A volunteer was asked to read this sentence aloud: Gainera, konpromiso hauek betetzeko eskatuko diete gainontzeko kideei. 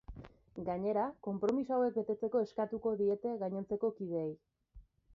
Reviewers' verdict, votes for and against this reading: rejected, 0, 2